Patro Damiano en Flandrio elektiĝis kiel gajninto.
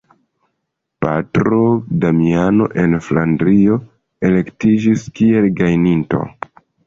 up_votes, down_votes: 1, 2